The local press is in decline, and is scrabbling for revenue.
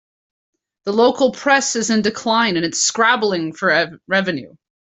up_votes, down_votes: 1, 2